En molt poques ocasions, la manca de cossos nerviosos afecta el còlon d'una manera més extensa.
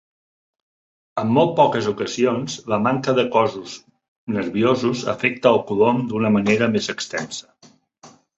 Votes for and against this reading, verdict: 1, 2, rejected